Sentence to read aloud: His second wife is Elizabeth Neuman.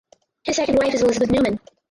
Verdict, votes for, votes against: rejected, 2, 4